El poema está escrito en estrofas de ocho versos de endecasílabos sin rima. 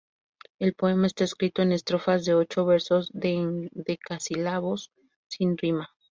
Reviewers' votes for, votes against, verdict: 0, 2, rejected